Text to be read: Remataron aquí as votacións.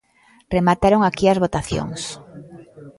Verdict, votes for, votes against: rejected, 1, 2